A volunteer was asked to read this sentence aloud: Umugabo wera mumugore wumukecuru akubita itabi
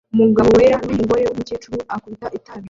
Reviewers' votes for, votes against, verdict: 0, 2, rejected